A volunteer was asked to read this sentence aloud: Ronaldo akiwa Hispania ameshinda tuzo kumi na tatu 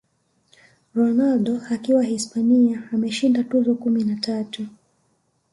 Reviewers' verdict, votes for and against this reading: accepted, 2, 0